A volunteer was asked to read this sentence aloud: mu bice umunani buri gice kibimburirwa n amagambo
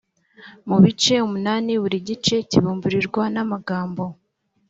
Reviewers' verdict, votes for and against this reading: accepted, 2, 0